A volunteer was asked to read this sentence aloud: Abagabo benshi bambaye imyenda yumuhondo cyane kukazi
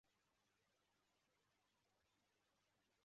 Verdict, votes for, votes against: rejected, 0, 2